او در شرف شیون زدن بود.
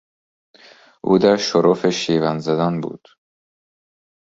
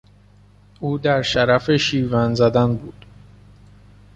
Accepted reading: first